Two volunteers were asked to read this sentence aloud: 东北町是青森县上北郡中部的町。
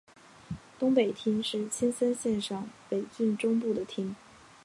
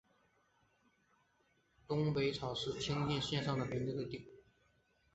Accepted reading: first